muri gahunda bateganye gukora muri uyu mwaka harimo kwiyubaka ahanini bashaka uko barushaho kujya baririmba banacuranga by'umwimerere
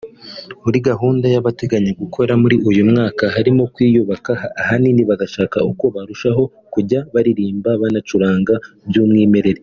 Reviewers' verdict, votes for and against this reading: rejected, 0, 2